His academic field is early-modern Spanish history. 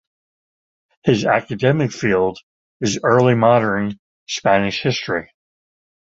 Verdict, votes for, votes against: accepted, 2, 1